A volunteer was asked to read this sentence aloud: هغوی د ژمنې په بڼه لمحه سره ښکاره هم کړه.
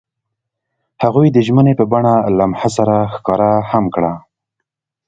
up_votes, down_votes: 2, 0